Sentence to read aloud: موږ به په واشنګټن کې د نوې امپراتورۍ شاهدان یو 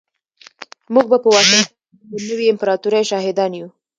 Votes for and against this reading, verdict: 0, 2, rejected